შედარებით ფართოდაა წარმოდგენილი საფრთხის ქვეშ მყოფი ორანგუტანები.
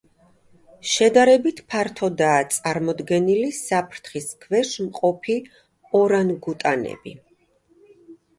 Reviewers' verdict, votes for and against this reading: accepted, 2, 0